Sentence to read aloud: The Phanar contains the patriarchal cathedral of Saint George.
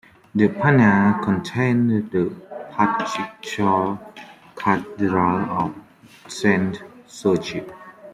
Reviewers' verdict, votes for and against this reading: rejected, 1, 2